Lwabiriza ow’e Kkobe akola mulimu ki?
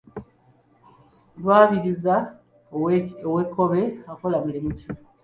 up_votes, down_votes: 2, 1